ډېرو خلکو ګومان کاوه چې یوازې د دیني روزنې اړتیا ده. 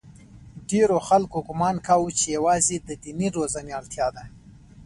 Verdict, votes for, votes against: rejected, 0, 2